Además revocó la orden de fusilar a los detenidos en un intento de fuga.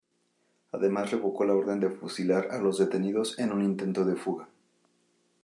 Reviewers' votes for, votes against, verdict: 2, 0, accepted